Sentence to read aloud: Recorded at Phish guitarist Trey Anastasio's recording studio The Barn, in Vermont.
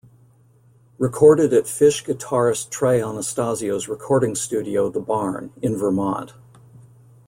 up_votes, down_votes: 2, 0